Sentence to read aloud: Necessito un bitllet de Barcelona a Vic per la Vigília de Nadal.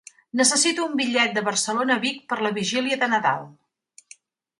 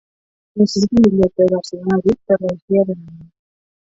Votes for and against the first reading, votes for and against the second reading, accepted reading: 3, 0, 0, 6, first